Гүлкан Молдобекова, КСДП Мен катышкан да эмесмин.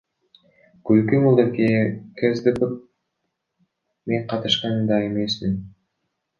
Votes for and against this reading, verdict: 1, 2, rejected